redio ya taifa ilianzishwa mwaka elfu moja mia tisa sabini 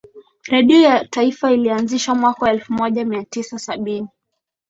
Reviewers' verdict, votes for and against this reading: accepted, 12, 1